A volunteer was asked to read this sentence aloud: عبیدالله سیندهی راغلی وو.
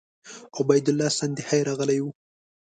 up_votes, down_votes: 1, 2